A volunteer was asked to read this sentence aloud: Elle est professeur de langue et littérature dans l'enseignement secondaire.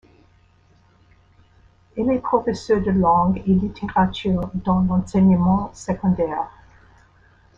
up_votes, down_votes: 0, 2